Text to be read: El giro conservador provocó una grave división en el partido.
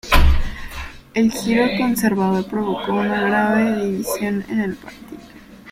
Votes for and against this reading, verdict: 2, 1, accepted